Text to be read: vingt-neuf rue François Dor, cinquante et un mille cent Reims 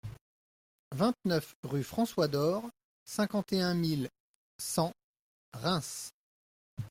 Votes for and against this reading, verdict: 2, 1, accepted